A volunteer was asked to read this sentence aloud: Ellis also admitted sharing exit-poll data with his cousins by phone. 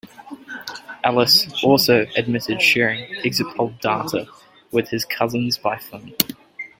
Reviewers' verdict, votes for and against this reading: accepted, 3, 1